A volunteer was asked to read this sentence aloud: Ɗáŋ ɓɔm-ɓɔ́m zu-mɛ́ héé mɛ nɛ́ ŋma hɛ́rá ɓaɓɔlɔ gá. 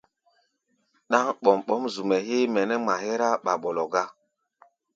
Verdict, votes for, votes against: accepted, 2, 0